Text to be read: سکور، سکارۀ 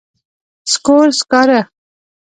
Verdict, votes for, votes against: rejected, 0, 2